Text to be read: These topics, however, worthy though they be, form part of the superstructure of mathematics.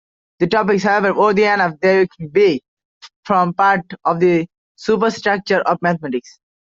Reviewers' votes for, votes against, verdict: 0, 2, rejected